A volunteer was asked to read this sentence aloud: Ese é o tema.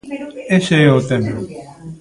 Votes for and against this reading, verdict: 0, 2, rejected